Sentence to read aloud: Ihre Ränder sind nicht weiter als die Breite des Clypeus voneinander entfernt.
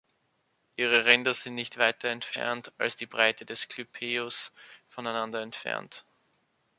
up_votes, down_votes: 1, 2